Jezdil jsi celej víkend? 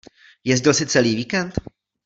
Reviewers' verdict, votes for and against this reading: rejected, 0, 2